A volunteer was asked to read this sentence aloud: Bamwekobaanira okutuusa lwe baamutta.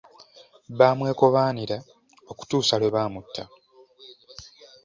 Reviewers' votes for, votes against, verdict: 2, 0, accepted